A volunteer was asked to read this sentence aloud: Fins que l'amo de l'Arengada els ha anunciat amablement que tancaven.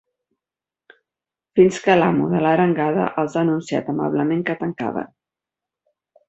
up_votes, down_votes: 1, 2